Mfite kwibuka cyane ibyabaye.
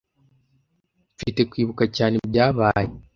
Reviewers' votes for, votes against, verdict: 2, 0, accepted